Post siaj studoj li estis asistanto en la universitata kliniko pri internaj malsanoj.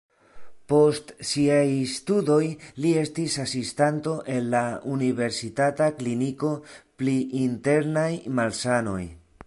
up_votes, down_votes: 0, 2